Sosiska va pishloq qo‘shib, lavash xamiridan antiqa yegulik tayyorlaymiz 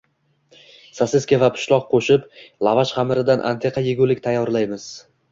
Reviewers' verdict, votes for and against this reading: accepted, 2, 0